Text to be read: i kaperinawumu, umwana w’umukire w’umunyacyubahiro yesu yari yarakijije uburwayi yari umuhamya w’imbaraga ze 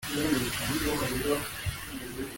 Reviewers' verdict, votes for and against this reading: rejected, 0, 2